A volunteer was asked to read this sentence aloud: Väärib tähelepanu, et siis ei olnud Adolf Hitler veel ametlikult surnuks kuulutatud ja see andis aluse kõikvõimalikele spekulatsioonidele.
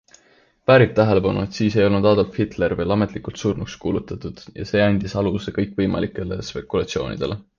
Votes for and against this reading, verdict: 2, 0, accepted